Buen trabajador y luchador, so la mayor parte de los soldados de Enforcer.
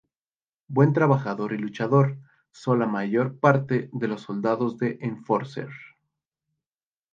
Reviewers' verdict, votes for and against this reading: rejected, 2, 2